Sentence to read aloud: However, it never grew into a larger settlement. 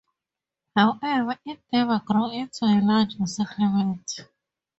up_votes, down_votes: 0, 2